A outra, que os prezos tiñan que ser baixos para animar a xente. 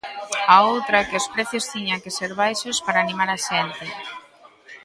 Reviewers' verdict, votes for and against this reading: rejected, 0, 2